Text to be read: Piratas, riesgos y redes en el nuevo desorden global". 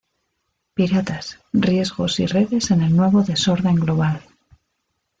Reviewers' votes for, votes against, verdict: 0, 2, rejected